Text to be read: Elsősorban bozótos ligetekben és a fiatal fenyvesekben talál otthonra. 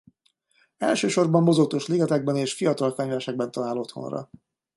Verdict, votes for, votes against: rejected, 1, 2